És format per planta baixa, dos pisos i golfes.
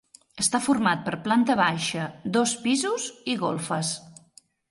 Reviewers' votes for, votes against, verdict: 0, 3, rejected